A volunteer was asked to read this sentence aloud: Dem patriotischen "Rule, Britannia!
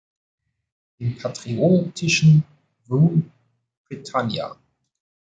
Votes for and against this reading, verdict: 1, 2, rejected